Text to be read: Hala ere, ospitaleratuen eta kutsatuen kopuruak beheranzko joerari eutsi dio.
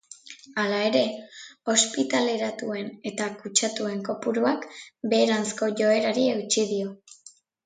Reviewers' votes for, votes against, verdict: 2, 0, accepted